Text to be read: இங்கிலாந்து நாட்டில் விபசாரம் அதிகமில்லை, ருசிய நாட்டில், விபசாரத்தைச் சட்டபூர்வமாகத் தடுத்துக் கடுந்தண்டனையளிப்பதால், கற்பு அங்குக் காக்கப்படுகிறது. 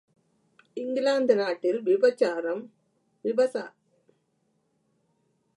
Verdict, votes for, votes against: rejected, 0, 2